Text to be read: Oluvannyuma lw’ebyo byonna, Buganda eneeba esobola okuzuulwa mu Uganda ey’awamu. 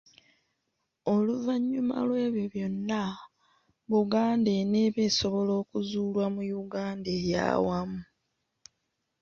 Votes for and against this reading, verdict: 2, 3, rejected